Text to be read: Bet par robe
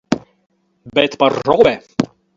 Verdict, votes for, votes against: rejected, 0, 4